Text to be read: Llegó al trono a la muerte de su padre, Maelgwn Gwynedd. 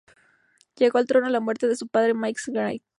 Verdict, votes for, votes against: rejected, 0, 2